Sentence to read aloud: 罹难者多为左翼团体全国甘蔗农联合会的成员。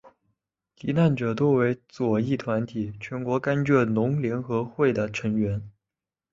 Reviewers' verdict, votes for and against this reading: accepted, 2, 0